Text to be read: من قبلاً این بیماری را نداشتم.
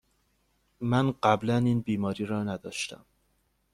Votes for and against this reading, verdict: 2, 0, accepted